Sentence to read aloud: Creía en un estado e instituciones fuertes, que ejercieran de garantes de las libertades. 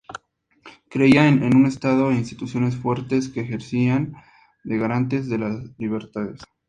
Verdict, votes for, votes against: rejected, 0, 2